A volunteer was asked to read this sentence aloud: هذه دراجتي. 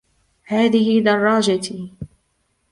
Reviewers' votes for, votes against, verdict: 0, 2, rejected